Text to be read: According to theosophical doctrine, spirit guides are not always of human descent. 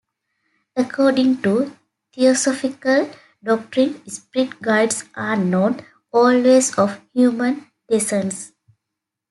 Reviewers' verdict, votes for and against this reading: accepted, 2, 0